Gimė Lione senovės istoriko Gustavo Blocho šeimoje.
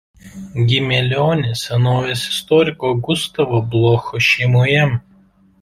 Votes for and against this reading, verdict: 2, 0, accepted